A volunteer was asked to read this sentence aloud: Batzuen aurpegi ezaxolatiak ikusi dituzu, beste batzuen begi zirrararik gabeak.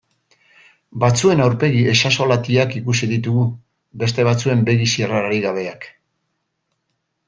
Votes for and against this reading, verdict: 1, 2, rejected